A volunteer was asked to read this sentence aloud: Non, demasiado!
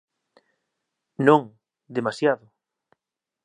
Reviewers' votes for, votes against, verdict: 2, 0, accepted